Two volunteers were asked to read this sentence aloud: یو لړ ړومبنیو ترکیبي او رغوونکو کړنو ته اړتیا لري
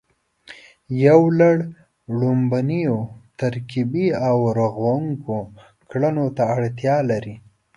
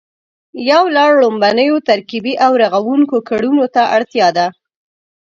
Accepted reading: first